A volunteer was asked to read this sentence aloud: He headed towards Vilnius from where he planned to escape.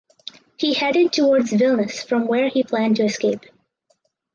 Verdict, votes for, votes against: accepted, 4, 2